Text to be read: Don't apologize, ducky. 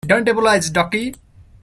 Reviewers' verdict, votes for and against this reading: rejected, 0, 2